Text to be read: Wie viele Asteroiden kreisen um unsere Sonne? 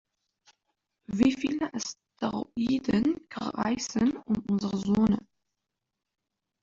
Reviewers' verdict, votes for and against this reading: rejected, 0, 2